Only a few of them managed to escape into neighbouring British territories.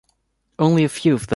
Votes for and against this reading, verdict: 1, 2, rejected